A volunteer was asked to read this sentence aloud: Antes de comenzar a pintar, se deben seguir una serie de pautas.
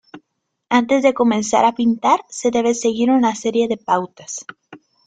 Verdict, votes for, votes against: rejected, 0, 2